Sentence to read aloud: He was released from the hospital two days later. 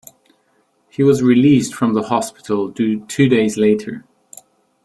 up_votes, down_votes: 2, 1